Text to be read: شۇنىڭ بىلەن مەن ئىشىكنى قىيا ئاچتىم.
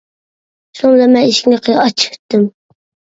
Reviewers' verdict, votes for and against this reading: rejected, 0, 2